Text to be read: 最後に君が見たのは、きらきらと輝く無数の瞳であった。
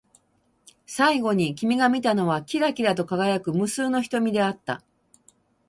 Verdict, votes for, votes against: accepted, 12, 0